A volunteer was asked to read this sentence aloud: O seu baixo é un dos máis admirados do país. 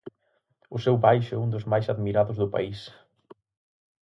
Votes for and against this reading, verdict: 4, 0, accepted